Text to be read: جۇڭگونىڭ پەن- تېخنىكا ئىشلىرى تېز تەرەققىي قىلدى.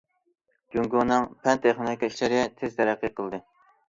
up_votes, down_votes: 1, 2